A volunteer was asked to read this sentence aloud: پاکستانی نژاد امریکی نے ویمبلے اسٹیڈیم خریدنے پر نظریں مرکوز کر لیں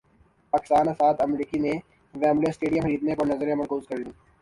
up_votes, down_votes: 0, 2